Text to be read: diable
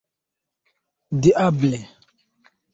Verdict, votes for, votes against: rejected, 1, 2